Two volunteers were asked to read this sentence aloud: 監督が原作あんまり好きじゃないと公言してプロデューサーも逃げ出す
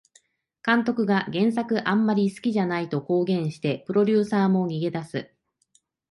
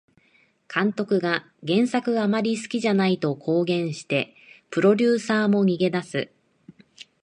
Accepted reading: first